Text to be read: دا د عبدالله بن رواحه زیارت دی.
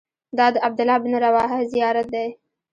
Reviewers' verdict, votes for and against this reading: rejected, 1, 2